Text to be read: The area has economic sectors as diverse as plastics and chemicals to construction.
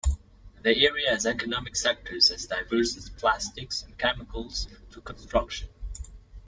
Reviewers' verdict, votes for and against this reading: rejected, 0, 2